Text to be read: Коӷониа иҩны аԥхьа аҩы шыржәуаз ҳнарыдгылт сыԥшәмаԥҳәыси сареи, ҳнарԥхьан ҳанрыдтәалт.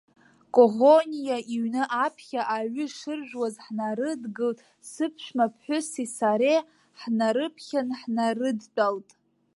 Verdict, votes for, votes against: rejected, 0, 2